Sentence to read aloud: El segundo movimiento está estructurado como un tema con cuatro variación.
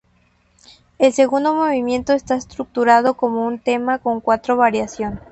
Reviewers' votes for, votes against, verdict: 2, 0, accepted